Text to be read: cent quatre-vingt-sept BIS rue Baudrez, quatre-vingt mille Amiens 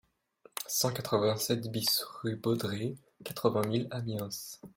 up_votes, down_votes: 1, 2